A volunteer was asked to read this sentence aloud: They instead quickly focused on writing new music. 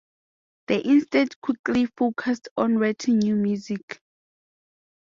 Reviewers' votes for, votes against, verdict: 2, 0, accepted